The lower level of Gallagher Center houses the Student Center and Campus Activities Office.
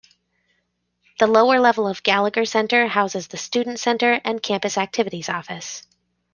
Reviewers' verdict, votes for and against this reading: accepted, 3, 0